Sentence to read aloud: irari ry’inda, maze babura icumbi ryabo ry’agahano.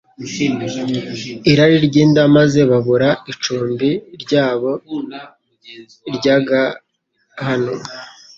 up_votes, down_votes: 2, 0